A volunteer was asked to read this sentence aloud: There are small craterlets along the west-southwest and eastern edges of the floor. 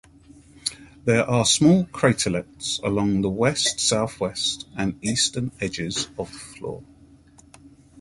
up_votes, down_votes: 2, 0